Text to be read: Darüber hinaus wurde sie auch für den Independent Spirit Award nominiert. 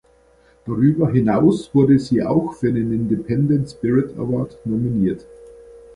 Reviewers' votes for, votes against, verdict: 2, 0, accepted